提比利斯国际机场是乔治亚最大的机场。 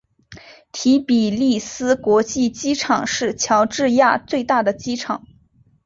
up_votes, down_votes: 2, 0